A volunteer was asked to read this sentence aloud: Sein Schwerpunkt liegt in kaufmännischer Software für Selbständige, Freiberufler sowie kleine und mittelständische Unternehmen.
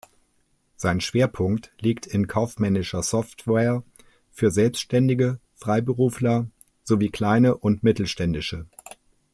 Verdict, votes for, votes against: rejected, 0, 2